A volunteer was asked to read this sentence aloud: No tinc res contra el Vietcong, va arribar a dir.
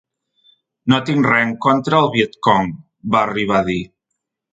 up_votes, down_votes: 0, 2